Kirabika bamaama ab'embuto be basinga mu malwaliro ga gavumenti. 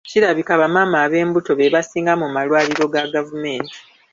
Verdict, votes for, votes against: accepted, 2, 0